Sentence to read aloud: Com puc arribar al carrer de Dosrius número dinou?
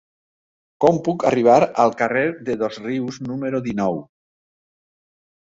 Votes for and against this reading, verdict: 2, 0, accepted